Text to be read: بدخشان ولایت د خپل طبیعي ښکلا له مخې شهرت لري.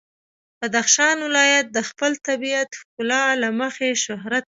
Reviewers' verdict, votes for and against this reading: accepted, 2, 0